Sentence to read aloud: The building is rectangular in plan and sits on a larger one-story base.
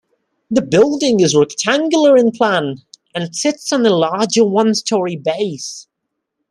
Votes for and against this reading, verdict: 2, 0, accepted